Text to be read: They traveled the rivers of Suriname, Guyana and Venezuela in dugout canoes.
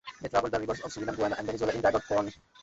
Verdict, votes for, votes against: rejected, 0, 2